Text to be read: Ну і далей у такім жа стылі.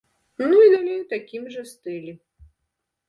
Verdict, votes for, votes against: rejected, 1, 2